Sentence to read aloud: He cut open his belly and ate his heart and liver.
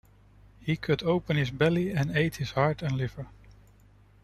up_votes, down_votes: 2, 0